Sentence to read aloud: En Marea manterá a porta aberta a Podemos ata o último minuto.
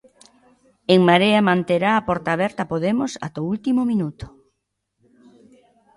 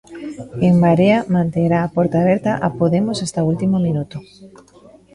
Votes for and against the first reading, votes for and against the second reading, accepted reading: 2, 1, 0, 2, first